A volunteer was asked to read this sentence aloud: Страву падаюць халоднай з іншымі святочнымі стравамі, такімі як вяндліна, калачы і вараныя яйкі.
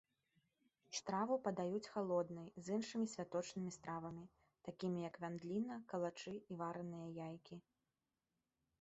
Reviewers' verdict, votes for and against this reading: rejected, 1, 2